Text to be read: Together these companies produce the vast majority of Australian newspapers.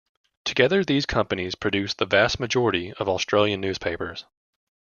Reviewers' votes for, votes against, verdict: 2, 0, accepted